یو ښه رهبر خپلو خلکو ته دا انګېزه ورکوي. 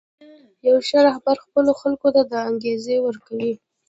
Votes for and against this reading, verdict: 1, 2, rejected